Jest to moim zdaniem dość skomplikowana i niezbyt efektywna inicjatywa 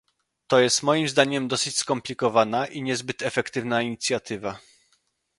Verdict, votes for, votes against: rejected, 0, 2